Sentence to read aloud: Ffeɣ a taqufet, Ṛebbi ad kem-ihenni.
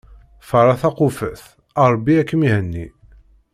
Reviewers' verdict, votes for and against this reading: accepted, 2, 0